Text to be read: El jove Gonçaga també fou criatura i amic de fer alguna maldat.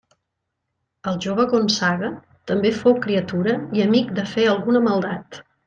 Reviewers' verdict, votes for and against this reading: accepted, 11, 0